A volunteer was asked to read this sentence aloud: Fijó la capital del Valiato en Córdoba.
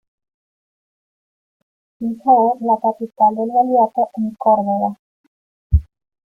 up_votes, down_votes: 0, 3